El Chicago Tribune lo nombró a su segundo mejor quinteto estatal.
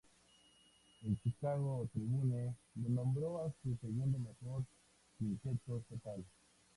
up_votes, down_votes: 0, 2